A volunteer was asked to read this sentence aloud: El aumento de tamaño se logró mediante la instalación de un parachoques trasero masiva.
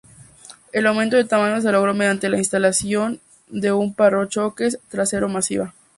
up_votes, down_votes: 0, 2